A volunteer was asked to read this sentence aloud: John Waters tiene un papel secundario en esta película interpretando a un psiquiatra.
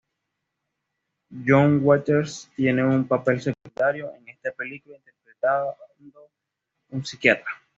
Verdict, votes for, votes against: rejected, 1, 2